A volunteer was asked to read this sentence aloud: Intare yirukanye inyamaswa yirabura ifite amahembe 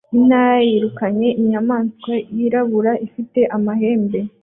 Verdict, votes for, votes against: rejected, 1, 2